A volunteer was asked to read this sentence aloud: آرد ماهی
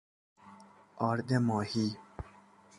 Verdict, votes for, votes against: accepted, 2, 0